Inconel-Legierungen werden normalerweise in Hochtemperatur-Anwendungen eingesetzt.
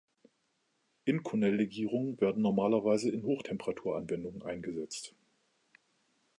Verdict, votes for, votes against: accepted, 2, 0